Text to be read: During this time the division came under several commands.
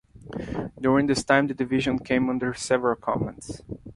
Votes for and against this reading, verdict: 2, 0, accepted